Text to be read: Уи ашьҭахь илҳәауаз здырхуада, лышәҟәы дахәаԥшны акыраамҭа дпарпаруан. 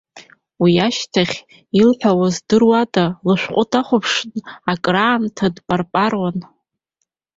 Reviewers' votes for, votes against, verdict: 2, 1, accepted